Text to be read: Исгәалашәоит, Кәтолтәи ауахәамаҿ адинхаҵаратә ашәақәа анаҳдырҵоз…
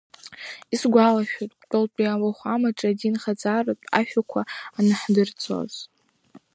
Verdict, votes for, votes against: accepted, 2, 1